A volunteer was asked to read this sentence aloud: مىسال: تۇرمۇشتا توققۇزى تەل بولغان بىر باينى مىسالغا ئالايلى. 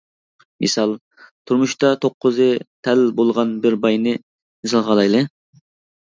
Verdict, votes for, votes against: rejected, 1, 2